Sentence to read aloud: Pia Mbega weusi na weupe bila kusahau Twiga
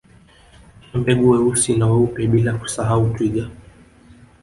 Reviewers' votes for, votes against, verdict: 3, 0, accepted